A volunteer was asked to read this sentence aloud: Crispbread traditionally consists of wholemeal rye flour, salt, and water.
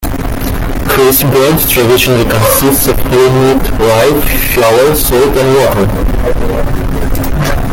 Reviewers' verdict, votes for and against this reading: rejected, 0, 2